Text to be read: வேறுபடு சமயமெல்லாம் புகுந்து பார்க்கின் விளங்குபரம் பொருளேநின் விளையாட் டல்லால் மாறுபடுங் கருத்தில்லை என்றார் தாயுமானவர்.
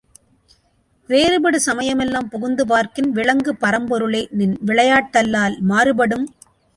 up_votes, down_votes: 0, 2